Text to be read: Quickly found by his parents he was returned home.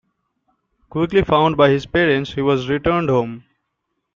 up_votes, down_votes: 2, 0